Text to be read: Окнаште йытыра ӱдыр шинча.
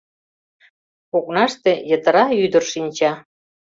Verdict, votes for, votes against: accepted, 2, 0